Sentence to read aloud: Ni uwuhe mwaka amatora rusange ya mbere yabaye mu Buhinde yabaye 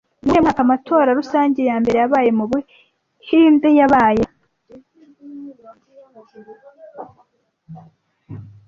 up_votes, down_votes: 0, 2